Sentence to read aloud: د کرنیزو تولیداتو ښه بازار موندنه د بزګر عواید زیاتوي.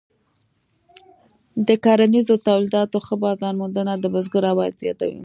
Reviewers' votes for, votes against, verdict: 3, 0, accepted